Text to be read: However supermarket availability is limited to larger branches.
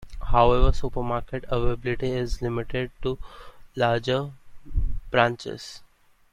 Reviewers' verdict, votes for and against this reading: accepted, 2, 1